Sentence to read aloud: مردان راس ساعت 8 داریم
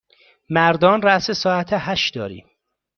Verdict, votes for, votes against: rejected, 0, 2